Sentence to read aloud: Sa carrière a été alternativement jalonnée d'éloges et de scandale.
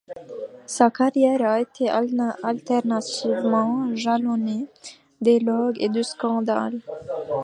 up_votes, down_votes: 0, 2